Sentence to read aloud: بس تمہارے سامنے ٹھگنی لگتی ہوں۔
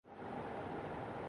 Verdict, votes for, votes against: rejected, 0, 3